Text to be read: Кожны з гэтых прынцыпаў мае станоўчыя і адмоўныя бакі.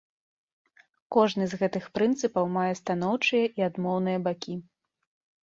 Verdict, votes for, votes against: accepted, 2, 0